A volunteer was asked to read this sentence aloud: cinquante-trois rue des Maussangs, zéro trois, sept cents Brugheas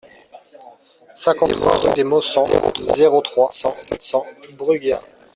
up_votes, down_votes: 1, 2